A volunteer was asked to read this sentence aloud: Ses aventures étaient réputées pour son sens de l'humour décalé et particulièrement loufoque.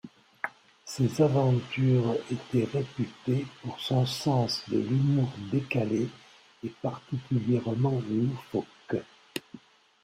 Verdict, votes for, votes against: accepted, 2, 1